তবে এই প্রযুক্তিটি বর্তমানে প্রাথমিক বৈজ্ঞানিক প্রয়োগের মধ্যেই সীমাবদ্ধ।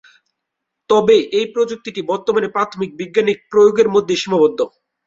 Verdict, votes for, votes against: rejected, 3, 6